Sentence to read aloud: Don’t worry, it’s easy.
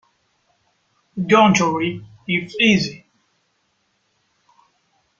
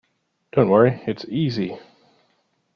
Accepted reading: second